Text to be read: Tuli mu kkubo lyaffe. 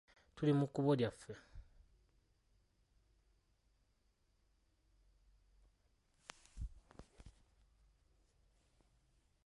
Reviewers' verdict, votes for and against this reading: rejected, 0, 2